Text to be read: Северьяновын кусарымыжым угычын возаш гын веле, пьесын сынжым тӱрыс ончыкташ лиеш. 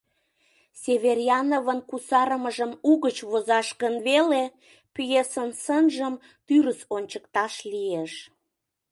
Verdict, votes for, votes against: rejected, 0, 2